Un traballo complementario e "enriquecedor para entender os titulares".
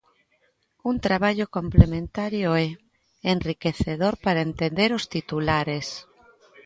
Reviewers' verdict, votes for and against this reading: accepted, 2, 0